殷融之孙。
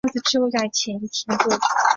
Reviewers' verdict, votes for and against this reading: rejected, 0, 3